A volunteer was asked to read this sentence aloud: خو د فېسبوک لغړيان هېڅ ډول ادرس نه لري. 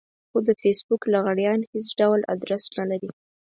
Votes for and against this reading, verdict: 4, 0, accepted